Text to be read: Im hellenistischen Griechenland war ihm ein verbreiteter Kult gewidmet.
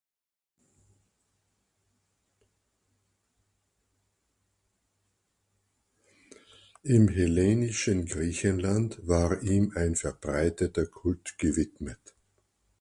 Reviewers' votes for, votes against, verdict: 0, 4, rejected